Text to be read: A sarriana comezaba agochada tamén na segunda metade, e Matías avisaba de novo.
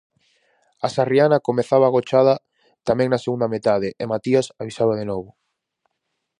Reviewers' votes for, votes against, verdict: 2, 2, rejected